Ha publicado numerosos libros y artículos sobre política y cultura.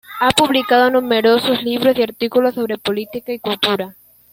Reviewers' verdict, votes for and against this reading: accepted, 2, 1